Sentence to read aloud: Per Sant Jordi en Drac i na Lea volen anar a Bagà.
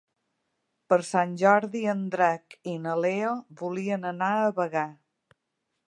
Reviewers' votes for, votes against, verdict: 0, 2, rejected